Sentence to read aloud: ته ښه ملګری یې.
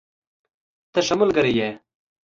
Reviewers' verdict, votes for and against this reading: accepted, 2, 0